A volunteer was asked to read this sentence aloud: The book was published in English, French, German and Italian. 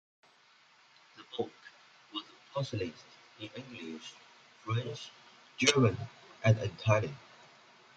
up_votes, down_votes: 2, 1